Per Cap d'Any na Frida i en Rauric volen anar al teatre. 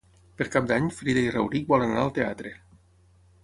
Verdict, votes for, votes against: rejected, 3, 6